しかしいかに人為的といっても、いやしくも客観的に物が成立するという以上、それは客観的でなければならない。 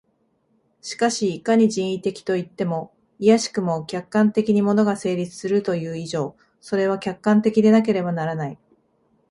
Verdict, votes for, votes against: accepted, 2, 0